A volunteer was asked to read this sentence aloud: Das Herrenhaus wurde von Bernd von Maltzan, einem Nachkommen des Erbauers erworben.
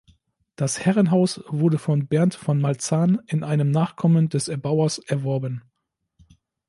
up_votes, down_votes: 0, 2